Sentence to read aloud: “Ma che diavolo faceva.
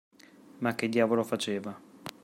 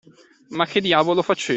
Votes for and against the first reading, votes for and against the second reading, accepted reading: 2, 0, 1, 2, first